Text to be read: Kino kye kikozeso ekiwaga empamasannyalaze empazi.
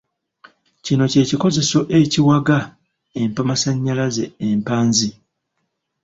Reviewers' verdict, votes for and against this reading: rejected, 1, 2